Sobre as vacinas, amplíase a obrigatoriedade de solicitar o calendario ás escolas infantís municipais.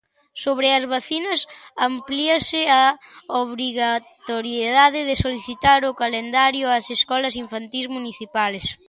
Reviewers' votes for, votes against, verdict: 1, 2, rejected